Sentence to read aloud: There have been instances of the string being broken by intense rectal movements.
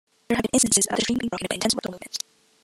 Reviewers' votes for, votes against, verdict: 0, 2, rejected